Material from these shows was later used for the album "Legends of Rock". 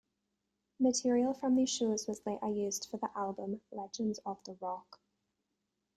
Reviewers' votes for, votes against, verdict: 0, 2, rejected